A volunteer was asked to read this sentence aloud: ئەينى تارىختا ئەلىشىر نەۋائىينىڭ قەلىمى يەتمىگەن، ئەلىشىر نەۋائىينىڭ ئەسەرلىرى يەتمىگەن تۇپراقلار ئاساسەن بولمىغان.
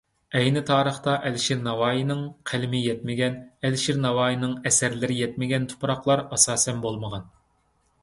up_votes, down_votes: 2, 0